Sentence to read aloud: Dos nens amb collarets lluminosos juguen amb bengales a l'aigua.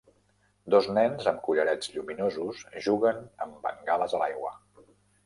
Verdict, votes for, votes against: accepted, 3, 0